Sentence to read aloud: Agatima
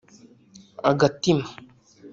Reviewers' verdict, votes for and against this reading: rejected, 1, 2